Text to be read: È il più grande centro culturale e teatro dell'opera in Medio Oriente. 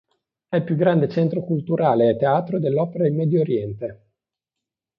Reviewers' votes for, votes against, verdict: 2, 0, accepted